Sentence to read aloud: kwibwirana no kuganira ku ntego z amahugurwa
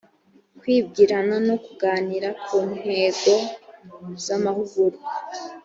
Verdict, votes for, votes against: accepted, 4, 0